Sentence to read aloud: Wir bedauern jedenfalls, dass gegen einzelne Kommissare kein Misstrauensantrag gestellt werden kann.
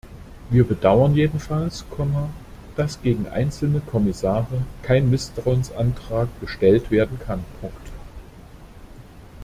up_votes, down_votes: 0, 2